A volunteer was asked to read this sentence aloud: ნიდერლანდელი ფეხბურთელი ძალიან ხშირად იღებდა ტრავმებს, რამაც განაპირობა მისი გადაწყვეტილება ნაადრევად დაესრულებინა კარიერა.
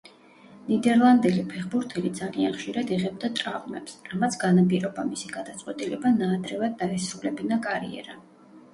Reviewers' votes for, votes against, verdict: 0, 2, rejected